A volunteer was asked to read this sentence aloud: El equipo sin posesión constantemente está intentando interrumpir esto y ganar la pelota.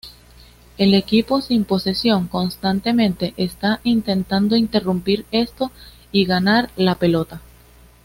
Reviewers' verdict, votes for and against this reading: accepted, 2, 0